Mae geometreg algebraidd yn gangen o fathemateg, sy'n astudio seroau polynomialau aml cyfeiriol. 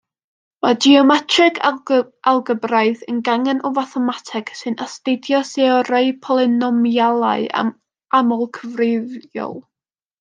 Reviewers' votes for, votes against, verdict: 0, 2, rejected